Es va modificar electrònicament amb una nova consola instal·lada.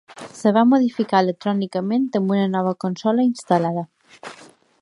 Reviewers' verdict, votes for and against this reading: rejected, 1, 2